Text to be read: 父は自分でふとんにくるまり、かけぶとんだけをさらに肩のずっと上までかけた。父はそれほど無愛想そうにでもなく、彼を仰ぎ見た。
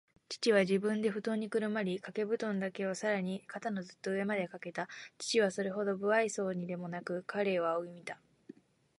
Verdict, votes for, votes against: accepted, 2, 0